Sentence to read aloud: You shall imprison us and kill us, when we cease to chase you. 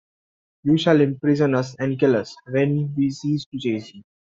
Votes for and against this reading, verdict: 1, 2, rejected